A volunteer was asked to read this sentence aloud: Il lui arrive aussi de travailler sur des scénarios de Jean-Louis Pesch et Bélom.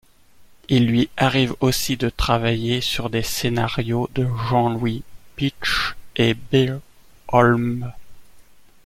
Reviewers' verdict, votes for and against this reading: rejected, 1, 2